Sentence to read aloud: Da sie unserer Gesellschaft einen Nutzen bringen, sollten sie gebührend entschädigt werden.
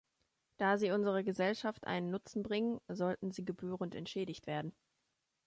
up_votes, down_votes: 2, 0